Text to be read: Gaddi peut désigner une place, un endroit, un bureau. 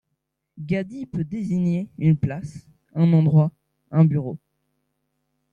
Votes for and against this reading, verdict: 2, 0, accepted